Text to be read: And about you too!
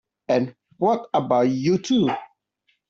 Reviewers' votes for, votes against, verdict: 0, 2, rejected